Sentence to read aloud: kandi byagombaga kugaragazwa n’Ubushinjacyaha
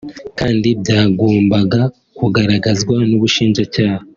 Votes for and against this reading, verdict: 5, 0, accepted